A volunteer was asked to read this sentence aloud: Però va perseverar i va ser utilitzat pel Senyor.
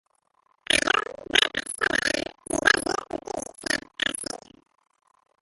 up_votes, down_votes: 0, 2